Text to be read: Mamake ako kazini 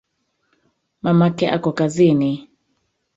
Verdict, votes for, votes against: accepted, 2, 1